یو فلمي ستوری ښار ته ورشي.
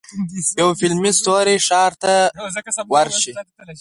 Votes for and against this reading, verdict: 2, 4, rejected